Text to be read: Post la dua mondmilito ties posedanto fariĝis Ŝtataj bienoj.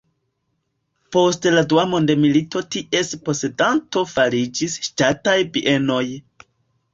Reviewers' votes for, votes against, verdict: 2, 1, accepted